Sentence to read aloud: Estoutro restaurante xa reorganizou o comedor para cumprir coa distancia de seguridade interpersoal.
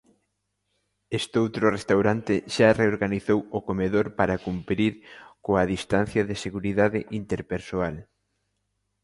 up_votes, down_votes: 2, 0